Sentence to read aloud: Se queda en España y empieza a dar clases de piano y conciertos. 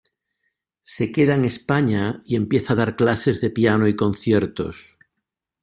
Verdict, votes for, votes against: accepted, 2, 0